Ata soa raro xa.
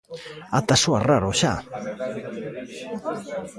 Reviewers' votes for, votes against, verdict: 1, 2, rejected